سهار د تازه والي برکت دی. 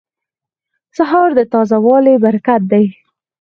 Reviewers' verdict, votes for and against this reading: accepted, 4, 0